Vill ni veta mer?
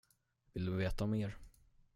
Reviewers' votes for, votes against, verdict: 0, 10, rejected